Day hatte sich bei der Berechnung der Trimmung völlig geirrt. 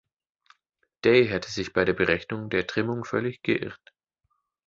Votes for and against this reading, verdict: 1, 2, rejected